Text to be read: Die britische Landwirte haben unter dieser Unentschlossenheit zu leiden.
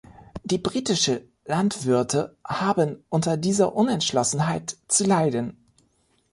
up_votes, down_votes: 2, 0